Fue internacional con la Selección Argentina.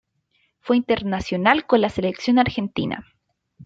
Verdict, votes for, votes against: accepted, 2, 1